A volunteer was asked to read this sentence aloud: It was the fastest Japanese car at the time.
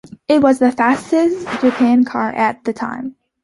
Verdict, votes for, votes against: rejected, 1, 2